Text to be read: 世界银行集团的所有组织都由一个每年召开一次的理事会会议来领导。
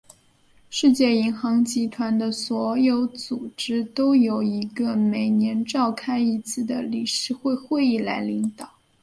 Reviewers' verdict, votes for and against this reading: accepted, 2, 0